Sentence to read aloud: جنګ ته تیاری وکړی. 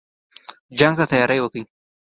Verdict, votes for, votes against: accepted, 2, 0